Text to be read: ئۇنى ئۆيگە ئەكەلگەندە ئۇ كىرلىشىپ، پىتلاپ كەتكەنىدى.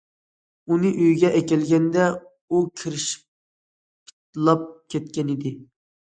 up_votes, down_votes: 1, 2